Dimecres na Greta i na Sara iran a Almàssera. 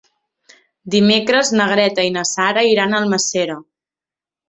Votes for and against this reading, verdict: 2, 1, accepted